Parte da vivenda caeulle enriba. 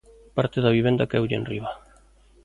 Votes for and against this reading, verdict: 2, 0, accepted